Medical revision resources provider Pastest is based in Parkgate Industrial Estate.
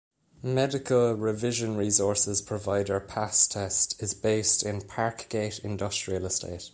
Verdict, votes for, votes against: accepted, 2, 1